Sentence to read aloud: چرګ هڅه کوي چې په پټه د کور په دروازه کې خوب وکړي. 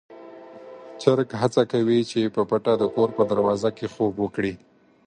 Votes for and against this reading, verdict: 2, 4, rejected